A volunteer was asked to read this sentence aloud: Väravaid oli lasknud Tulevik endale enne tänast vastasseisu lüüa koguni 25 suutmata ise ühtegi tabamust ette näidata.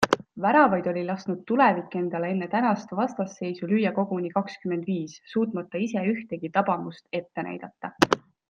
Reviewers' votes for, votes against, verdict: 0, 2, rejected